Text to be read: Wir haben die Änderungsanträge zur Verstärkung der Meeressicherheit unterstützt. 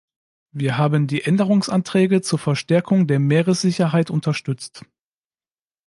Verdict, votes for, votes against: accepted, 2, 0